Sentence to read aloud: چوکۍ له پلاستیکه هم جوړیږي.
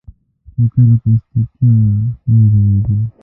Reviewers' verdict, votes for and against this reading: rejected, 1, 2